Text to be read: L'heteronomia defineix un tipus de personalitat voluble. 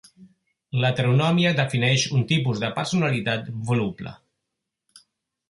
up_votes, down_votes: 2, 0